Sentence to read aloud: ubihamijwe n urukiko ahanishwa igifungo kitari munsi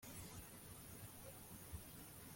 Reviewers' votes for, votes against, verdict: 1, 2, rejected